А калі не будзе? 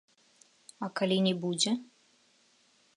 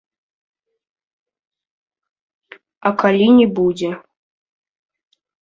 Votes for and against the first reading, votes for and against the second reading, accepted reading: 2, 0, 1, 2, first